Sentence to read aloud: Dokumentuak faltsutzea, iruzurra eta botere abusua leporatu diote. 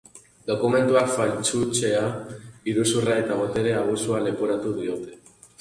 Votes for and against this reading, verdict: 2, 0, accepted